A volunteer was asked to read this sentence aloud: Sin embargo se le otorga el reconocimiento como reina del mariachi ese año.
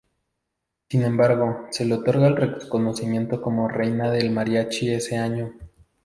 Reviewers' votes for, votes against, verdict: 2, 2, rejected